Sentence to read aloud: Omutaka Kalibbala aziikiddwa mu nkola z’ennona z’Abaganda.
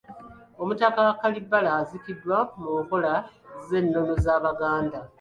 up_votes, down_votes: 0, 2